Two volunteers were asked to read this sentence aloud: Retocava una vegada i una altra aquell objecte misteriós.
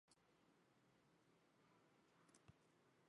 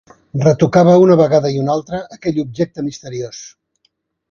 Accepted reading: second